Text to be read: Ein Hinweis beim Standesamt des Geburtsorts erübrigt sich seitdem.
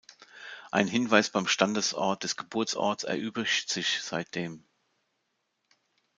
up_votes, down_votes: 0, 2